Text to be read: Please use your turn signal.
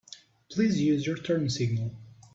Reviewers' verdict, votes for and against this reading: accepted, 3, 1